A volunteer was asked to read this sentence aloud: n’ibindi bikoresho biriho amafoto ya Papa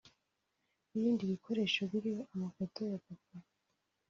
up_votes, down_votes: 2, 0